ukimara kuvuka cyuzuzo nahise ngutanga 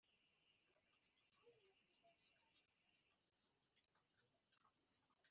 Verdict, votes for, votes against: rejected, 1, 2